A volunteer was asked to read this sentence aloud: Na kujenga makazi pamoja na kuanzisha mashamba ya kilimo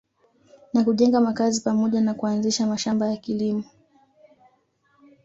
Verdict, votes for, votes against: accepted, 2, 1